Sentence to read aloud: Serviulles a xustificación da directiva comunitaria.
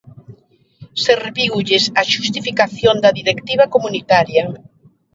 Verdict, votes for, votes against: rejected, 1, 2